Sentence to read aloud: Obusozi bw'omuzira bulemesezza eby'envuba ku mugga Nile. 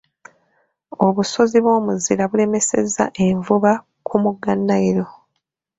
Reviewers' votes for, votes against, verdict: 0, 2, rejected